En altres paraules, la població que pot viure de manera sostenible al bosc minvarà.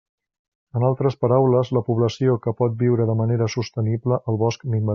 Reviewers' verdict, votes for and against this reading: rejected, 0, 2